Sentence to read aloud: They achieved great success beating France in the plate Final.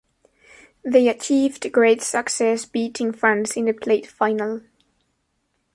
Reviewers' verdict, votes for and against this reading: accepted, 2, 0